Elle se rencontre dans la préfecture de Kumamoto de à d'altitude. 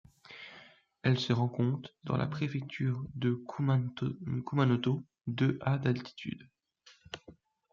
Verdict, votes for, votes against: rejected, 0, 2